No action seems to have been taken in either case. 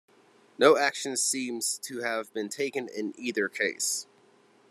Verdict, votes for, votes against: accepted, 2, 0